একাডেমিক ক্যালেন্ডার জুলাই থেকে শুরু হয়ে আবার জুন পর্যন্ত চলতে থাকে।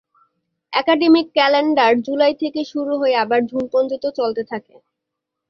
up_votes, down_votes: 2, 0